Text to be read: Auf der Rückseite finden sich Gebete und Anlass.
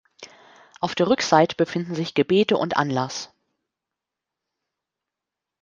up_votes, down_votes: 1, 2